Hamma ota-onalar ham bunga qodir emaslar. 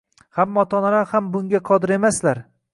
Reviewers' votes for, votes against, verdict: 0, 2, rejected